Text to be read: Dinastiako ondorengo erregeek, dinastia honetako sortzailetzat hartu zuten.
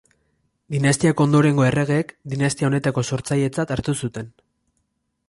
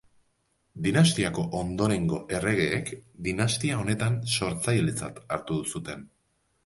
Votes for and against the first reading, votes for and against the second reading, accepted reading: 2, 0, 2, 2, first